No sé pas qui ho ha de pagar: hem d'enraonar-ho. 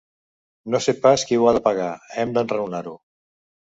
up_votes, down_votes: 2, 0